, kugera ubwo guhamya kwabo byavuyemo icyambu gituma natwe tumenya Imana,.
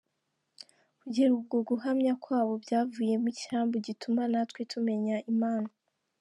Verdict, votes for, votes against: accepted, 3, 0